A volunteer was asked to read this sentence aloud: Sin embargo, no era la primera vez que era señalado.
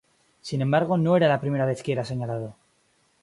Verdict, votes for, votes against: accepted, 2, 0